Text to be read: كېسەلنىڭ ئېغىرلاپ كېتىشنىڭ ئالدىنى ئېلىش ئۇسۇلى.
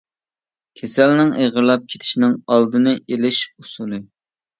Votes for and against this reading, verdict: 3, 0, accepted